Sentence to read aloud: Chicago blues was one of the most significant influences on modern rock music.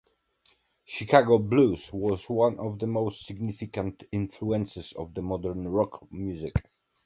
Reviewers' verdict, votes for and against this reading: accepted, 2, 1